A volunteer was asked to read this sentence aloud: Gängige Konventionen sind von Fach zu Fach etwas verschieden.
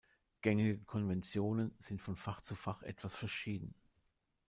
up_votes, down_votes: 2, 0